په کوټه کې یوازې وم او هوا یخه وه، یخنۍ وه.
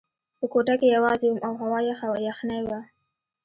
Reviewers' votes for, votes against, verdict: 1, 2, rejected